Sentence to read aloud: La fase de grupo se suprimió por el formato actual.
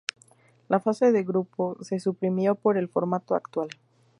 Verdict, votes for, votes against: rejected, 0, 2